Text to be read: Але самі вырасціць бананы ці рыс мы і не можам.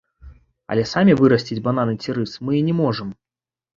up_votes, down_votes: 1, 2